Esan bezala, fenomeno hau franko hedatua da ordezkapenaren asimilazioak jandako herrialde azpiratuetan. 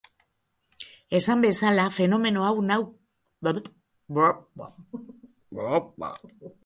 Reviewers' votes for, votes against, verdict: 1, 2, rejected